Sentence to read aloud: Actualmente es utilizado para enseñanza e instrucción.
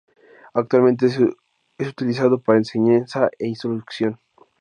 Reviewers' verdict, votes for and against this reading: rejected, 0, 2